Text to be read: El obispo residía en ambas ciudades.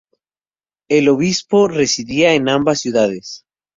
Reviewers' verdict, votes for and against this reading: rejected, 2, 2